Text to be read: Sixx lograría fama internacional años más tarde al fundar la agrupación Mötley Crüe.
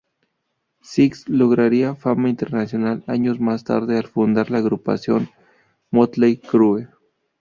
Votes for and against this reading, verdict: 2, 0, accepted